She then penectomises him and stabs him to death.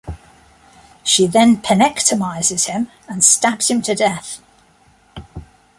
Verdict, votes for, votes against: accepted, 2, 0